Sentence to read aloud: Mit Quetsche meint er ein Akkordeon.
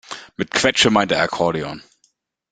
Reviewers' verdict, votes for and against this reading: rejected, 1, 2